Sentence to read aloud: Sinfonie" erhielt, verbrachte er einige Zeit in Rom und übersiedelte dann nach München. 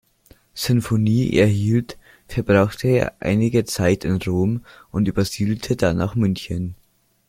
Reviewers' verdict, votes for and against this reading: accepted, 2, 0